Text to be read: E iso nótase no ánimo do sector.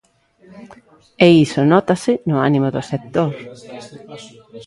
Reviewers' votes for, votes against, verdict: 0, 2, rejected